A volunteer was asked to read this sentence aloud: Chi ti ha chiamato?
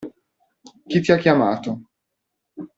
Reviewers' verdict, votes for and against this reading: accepted, 2, 0